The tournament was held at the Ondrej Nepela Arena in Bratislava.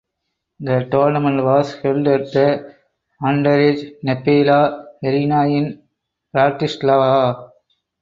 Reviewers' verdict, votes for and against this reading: rejected, 0, 4